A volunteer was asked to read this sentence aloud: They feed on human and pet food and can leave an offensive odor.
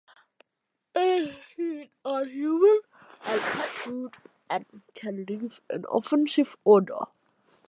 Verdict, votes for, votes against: rejected, 0, 2